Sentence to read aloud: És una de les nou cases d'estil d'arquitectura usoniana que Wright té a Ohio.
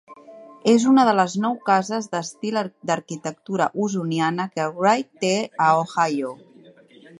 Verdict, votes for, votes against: rejected, 1, 2